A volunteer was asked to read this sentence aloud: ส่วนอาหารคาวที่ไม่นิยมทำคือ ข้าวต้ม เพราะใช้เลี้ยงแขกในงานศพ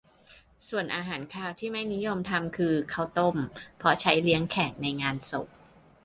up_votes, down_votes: 3, 0